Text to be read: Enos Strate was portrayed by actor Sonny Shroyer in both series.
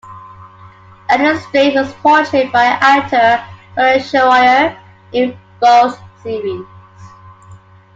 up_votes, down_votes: 2, 0